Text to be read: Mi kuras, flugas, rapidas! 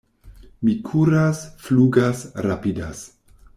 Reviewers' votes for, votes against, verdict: 2, 0, accepted